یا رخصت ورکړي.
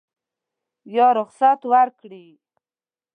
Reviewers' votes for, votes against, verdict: 2, 0, accepted